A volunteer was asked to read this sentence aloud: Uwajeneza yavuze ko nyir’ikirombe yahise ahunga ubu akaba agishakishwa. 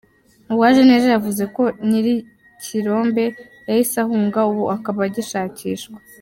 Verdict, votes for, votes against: accepted, 3, 0